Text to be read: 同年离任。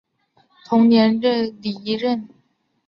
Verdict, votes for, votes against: rejected, 0, 2